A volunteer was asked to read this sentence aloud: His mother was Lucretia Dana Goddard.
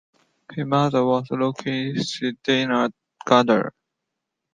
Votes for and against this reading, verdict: 0, 2, rejected